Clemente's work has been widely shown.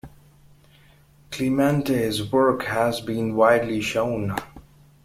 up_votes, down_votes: 2, 0